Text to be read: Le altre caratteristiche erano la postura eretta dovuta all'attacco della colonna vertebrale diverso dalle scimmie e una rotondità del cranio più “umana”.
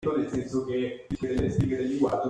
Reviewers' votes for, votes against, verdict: 0, 2, rejected